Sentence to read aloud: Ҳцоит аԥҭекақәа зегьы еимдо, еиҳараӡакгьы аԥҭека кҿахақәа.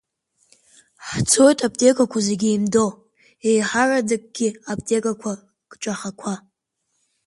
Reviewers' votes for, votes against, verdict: 2, 0, accepted